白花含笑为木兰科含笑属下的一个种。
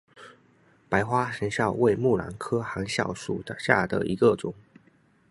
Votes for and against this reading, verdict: 0, 2, rejected